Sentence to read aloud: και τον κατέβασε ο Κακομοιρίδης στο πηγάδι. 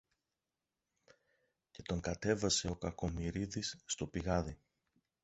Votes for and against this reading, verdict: 1, 2, rejected